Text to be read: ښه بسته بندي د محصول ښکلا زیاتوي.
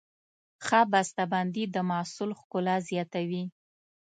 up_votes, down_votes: 2, 0